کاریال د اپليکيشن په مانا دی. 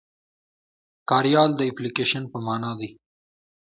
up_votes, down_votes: 1, 2